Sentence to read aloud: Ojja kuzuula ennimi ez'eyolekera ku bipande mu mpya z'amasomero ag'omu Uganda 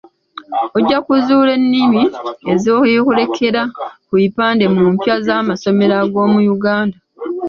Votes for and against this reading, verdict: 1, 2, rejected